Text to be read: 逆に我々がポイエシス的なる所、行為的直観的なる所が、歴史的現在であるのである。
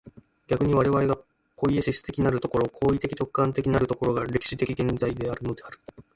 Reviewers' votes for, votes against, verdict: 0, 2, rejected